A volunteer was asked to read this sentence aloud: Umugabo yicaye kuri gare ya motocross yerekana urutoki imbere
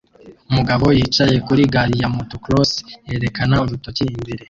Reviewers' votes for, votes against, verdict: 0, 2, rejected